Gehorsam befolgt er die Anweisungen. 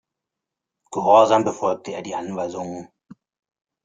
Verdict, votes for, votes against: rejected, 0, 2